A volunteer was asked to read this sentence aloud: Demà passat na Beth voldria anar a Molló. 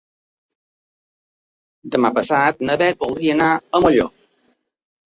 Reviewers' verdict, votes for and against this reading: accepted, 2, 0